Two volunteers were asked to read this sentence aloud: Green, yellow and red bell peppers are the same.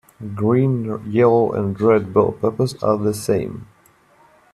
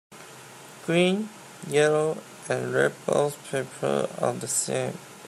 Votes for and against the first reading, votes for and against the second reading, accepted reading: 2, 1, 2, 3, first